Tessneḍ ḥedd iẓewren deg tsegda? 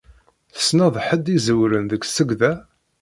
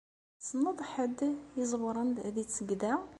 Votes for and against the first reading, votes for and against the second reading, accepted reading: 0, 2, 2, 0, second